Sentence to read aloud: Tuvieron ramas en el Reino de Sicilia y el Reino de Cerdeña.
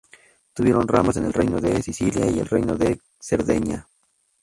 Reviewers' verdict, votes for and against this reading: accepted, 2, 0